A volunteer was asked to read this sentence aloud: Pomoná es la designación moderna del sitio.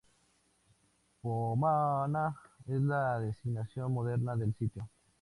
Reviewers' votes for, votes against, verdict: 0, 2, rejected